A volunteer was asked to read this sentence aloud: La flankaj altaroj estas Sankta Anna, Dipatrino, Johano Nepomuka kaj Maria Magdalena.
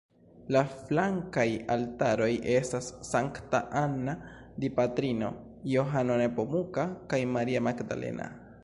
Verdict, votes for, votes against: rejected, 1, 2